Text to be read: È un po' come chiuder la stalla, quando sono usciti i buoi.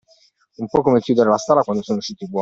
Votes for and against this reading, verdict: 2, 1, accepted